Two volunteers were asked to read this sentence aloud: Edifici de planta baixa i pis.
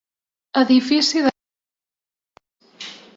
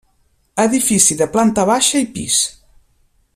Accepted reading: second